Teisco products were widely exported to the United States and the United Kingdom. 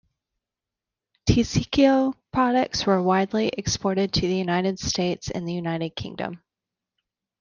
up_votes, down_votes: 1, 2